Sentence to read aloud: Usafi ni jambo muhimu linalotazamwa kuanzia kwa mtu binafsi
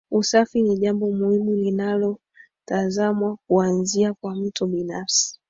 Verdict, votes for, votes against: accepted, 3, 2